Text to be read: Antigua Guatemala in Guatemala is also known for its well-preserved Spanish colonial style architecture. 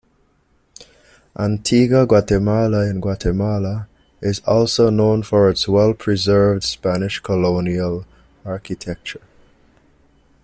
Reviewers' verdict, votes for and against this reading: rejected, 1, 2